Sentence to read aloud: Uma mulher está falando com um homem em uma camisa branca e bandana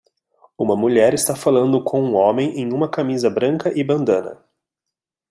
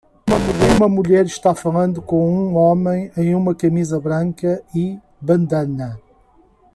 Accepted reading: first